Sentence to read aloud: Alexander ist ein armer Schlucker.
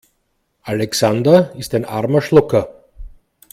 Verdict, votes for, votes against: accepted, 2, 0